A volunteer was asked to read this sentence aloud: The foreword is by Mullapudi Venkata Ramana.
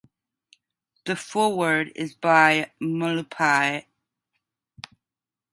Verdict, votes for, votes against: rejected, 1, 2